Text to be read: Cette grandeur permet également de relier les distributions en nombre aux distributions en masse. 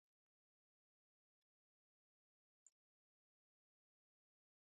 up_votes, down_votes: 0, 2